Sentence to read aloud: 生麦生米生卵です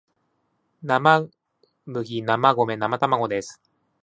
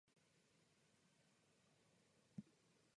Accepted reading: first